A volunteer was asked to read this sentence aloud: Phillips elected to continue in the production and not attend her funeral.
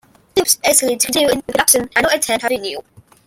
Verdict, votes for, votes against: rejected, 0, 2